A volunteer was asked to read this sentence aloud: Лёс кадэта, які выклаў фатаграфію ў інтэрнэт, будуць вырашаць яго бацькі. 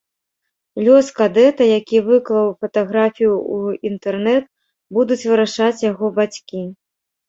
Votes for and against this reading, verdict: 2, 1, accepted